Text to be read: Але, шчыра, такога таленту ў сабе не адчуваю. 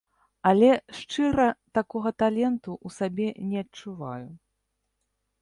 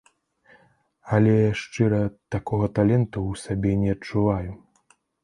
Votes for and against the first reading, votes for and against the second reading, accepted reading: 1, 2, 2, 0, second